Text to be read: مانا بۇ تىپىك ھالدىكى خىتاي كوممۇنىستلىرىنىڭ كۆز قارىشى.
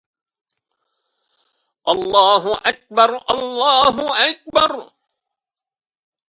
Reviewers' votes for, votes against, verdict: 0, 2, rejected